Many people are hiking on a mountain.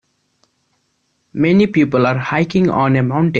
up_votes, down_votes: 2, 0